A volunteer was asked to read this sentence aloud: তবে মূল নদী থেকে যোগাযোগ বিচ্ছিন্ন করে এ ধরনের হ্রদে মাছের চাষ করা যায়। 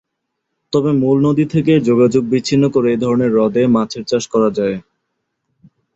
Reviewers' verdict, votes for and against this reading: accepted, 5, 0